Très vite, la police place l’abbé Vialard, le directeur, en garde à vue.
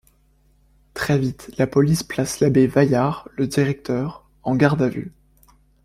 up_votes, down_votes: 1, 2